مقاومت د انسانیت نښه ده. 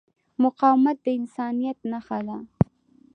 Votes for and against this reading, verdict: 2, 0, accepted